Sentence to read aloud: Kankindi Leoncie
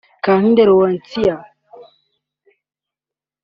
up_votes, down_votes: 2, 1